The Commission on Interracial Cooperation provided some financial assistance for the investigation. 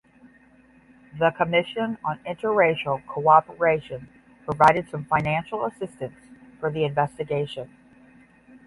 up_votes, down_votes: 5, 0